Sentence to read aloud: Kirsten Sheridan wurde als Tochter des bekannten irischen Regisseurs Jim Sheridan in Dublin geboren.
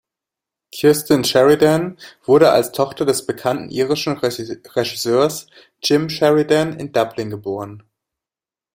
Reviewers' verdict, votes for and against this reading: rejected, 0, 2